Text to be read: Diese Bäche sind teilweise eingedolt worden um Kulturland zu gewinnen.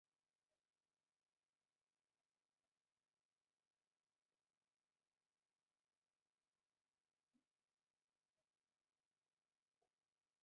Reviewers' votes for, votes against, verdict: 0, 4, rejected